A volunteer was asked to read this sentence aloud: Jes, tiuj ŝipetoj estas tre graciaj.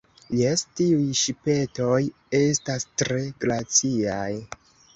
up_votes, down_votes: 2, 1